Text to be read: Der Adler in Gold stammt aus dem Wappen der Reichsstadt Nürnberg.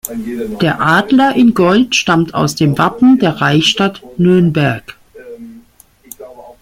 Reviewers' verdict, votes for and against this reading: accepted, 2, 1